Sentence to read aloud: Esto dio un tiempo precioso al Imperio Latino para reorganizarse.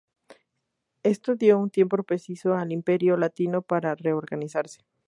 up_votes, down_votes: 2, 0